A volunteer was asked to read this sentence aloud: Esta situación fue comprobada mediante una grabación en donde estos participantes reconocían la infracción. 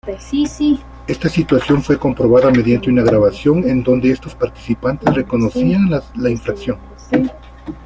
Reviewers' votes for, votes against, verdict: 1, 2, rejected